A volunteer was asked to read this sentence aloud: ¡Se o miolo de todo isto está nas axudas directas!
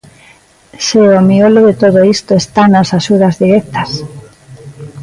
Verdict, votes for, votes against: accepted, 2, 0